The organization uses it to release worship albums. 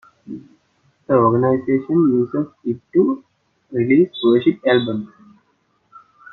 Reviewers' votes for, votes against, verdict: 0, 2, rejected